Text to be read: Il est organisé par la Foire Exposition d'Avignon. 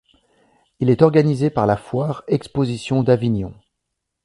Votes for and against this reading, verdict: 2, 0, accepted